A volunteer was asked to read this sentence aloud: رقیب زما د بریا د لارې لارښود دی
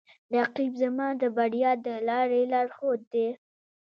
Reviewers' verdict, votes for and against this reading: rejected, 1, 2